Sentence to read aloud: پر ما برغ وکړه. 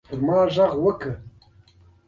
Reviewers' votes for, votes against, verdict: 2, 0, accepted